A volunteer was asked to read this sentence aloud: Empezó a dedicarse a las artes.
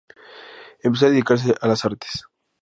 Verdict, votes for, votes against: rejected, 0, 2